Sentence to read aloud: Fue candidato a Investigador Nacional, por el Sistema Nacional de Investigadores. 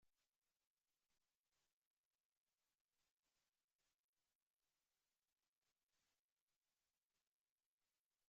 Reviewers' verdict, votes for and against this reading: rejected, 0, 2